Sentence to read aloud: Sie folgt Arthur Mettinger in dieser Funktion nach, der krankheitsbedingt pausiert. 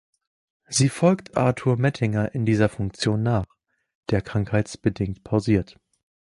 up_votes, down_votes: 2, 0